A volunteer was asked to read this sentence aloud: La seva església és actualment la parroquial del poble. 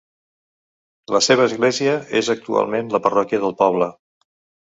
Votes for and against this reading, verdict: 0, 5, rejected